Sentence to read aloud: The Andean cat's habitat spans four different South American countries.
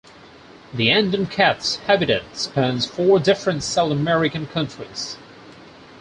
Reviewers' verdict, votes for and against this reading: accepted, 4, 0